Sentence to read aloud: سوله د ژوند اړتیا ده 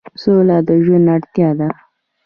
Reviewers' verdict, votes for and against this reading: accepted, 2, 0